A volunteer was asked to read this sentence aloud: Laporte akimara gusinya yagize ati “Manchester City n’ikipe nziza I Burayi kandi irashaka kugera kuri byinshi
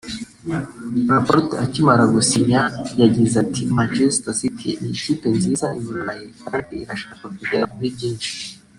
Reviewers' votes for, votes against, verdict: 1, 2, rejected